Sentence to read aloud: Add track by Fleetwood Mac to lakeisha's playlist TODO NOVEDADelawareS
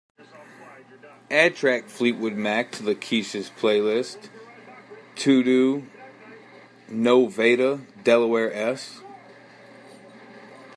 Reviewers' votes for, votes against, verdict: 2, 3, rejected